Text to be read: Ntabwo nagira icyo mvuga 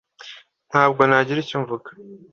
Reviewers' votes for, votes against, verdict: 2, 0, accepted